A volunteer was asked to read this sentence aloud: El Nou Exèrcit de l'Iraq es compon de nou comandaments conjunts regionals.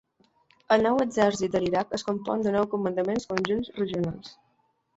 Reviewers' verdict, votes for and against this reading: rejected, 1, 2